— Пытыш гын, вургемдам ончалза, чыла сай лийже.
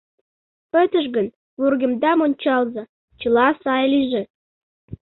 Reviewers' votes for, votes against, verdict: 2, 0, accepted